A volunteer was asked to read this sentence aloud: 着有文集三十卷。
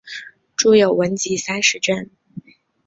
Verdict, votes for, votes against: accepted, 3, 0